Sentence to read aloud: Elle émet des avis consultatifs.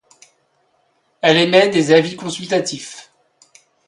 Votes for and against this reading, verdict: 1, 2, rejected